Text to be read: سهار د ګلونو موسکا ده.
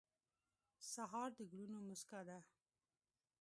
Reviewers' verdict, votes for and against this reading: rejected, 0, 2